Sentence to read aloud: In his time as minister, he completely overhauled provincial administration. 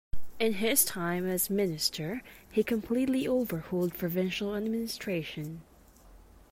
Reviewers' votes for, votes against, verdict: 2, 0, accepted